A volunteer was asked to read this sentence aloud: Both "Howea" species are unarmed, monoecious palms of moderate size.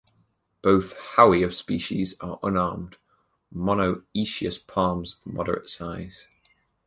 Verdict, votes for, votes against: accepted, 4, 0